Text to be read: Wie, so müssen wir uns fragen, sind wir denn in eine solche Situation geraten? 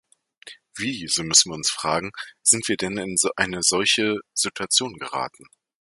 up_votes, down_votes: 1, 2